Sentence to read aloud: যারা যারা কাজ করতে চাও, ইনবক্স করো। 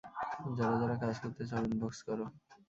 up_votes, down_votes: 1, 2